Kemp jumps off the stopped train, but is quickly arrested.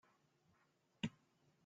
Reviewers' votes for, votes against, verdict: 0, 2, rejected